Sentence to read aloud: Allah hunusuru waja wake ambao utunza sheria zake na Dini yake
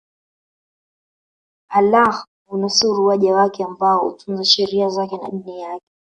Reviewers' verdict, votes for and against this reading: rejected, 0, 2